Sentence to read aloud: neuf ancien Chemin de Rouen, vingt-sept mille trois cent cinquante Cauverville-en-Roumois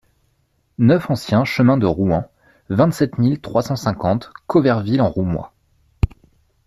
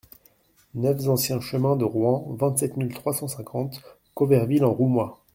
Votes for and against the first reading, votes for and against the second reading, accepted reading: 2, 0, 0, 2, first